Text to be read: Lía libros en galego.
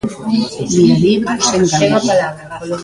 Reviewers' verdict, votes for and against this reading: rejected, 0, 2